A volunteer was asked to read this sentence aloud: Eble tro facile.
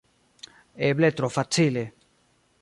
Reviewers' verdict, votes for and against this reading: rejected, 1, 2